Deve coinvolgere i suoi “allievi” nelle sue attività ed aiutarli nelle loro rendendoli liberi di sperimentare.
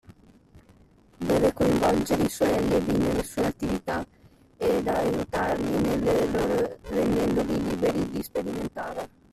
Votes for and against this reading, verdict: 0, 2, rejected